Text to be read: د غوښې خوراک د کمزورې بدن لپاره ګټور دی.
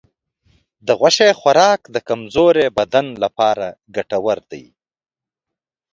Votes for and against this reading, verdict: 2, 0, accepted